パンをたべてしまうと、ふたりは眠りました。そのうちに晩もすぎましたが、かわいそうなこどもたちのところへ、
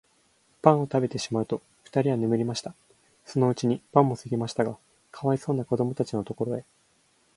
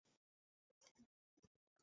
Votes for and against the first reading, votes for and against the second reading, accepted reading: 4, 1, 0, 2, first